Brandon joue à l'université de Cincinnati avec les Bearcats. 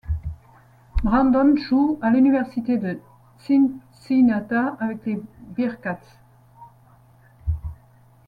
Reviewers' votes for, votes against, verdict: 0, 2, rejected